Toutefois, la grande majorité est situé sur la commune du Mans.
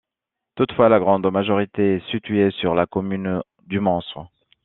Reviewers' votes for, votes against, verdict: 2, 1, accepted